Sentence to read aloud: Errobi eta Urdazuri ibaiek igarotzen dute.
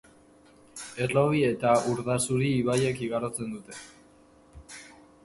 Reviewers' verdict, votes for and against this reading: accepted, 2, 0